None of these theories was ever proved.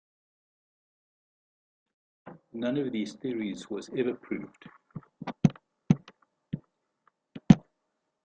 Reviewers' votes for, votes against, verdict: 2, 0, accepted